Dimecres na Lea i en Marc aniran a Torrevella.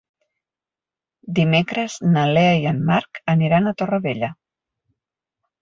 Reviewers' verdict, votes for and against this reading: accepted, 3, 0